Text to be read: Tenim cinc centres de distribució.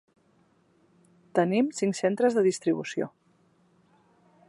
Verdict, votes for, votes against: accepted, 3, 0